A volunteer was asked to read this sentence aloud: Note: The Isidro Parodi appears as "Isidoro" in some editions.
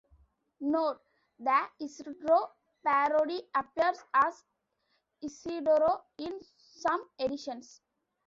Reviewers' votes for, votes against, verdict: 2, 3, rejected